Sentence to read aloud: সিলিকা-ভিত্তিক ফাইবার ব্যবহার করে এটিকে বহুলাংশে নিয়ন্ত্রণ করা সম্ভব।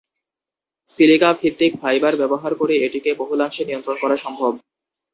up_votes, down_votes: 2, 0